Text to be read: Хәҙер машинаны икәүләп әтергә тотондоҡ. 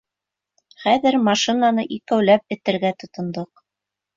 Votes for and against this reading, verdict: 2, 0, accepted